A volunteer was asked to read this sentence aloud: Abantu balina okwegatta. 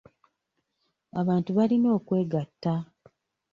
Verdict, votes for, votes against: accepted, 2, 0